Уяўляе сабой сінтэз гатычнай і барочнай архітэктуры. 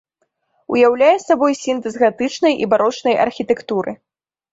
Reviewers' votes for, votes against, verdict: 2, 0, accepted